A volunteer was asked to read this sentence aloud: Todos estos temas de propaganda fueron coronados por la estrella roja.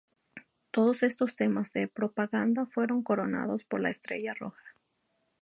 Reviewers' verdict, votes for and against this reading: accepted, 2, 0